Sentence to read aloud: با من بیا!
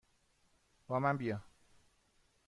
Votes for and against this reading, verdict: 2, 0, accepted